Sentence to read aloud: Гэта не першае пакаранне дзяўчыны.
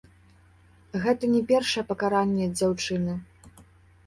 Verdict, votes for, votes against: accepted, 2, 1